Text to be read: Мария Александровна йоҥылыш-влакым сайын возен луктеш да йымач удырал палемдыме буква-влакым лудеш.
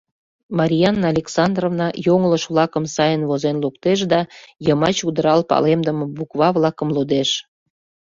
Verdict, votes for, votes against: rejected, 0, 2